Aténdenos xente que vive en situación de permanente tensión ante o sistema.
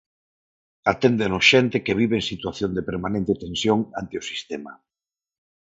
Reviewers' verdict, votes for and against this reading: accepted, 4, 0